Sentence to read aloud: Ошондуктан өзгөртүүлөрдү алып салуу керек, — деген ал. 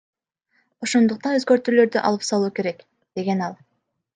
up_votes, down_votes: 1, 2